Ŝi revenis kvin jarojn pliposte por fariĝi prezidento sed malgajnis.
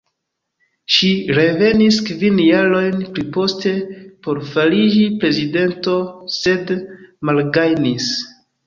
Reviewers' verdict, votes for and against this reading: accepted, 2, 0